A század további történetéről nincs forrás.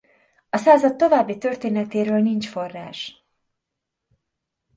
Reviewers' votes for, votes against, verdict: 2, 0, accepted